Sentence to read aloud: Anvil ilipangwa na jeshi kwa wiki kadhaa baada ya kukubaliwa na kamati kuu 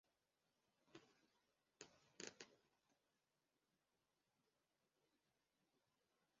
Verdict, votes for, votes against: rejected, 0, 2